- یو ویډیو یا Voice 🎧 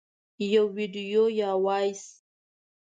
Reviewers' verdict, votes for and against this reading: rejected, 1, 2